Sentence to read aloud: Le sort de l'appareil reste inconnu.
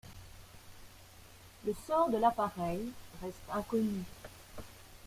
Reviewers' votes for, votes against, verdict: 2, 0, accepted